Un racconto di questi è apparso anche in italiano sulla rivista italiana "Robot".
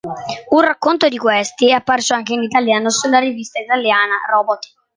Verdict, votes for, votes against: accepted, 2, 0